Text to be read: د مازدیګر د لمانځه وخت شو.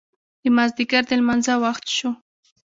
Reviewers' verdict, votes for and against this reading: accepted, 2, 0